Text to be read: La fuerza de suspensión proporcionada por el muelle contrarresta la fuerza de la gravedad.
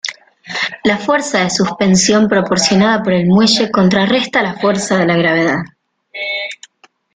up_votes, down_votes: 1, 2